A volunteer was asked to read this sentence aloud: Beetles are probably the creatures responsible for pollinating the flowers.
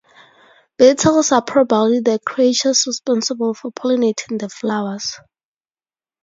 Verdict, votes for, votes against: accepted, 2, 0